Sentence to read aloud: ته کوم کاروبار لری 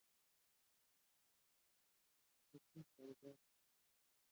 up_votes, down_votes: 0, 2